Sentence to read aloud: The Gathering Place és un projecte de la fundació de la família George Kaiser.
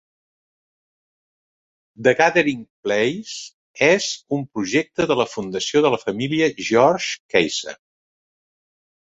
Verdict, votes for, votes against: accepted, 2, 0